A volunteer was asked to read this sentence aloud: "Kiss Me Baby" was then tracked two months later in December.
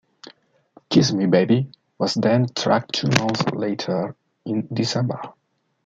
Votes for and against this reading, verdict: 2, 1, accepted